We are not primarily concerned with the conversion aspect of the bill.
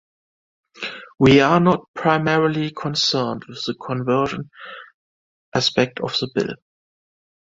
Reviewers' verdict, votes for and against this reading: rejected, 1, 2